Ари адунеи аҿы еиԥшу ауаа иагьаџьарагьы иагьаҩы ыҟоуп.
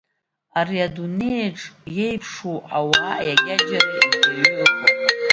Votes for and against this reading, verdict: 0, 2, rejected